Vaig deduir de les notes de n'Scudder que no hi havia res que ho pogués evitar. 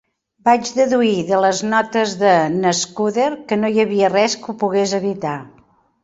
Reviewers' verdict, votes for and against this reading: accepted, 2, 0